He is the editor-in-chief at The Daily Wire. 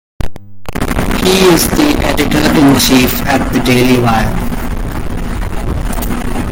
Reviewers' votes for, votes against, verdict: 1, 2, rejected